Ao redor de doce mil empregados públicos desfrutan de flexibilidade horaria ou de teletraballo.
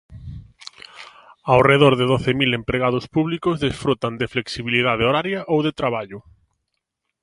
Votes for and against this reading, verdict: 0, 2, rejected